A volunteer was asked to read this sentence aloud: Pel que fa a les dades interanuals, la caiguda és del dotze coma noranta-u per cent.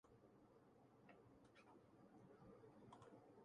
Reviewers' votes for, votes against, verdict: 0, 2, rejected